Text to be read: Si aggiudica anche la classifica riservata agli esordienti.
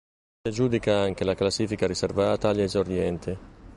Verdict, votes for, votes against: rejected, 1, 2